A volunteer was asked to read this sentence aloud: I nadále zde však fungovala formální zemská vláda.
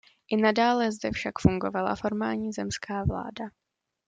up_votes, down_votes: 2, 0